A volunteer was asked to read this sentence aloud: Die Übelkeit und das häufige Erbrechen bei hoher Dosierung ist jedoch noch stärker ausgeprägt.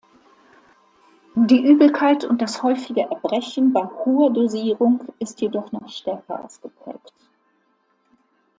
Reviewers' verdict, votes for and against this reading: accepted, 2, 0